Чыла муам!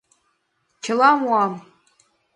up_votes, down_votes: 2, 0